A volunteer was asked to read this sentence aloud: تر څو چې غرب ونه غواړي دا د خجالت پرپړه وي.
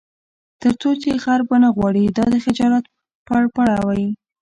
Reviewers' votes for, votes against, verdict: 2, 1, accepted